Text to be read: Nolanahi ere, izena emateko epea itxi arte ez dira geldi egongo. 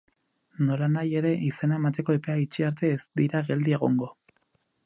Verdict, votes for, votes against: accepted, 8, 0